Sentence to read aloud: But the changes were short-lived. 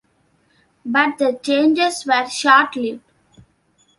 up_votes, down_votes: 2, 0